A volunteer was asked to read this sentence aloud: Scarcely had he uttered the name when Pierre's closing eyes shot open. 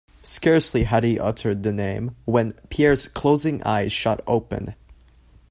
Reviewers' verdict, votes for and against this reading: accepted, 2, 0